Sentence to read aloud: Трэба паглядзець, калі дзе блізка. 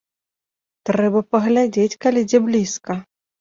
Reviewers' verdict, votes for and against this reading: accepted, 2, 0